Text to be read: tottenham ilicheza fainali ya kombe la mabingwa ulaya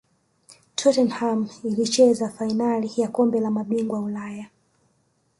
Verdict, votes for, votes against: rejected, 1, 2